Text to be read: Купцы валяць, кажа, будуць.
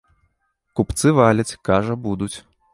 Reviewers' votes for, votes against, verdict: 2, 0, accepted